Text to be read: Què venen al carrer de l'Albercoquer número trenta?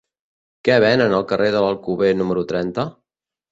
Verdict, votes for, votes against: rejected, 1, 2